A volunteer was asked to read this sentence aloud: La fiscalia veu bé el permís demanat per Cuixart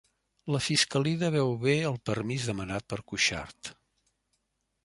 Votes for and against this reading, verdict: 0, 2, rejected